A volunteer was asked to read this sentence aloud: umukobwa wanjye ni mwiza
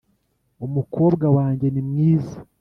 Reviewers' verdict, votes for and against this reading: accepted, 2, 0